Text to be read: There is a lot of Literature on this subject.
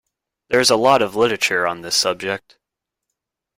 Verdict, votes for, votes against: rejected, 1, 2